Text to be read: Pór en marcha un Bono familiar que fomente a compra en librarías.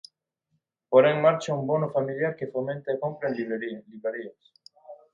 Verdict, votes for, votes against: rejected, 0, 2